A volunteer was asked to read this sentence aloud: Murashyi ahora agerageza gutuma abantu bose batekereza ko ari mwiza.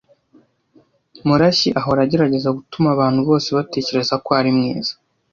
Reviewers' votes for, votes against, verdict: 2, 0, accepted